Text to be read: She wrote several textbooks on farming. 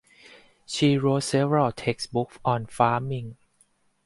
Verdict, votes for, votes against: rejected, 2, 2